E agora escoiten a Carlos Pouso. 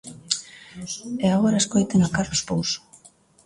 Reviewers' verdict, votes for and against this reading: accepted, 2, 1